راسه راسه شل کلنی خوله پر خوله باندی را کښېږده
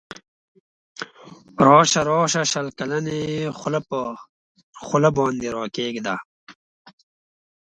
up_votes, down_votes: 1, 2